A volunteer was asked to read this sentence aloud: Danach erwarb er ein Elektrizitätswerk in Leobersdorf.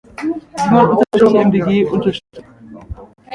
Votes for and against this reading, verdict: 0, 2, rejected